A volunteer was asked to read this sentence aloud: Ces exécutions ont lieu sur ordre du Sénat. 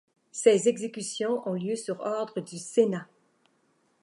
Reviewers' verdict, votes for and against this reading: accepted, 2, 0